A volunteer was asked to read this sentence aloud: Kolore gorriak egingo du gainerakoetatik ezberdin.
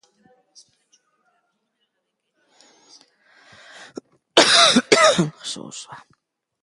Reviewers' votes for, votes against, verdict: 0, 2, rejected